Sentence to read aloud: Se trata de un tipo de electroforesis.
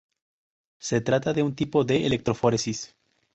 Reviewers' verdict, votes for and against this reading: accepted, 2, 0